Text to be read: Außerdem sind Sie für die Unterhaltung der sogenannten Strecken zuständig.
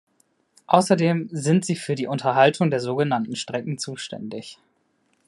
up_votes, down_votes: 2, 0